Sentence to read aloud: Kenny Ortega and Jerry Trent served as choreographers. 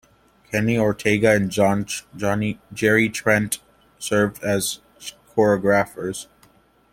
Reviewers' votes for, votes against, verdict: 0, 2, rejected